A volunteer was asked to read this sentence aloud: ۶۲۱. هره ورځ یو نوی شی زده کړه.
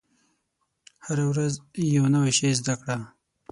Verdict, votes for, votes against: rejected, 0, 2